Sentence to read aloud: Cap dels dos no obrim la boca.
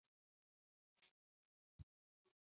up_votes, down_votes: 1, 2